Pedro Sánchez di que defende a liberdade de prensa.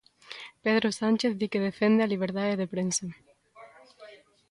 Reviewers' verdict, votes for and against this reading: accepted, 2, 0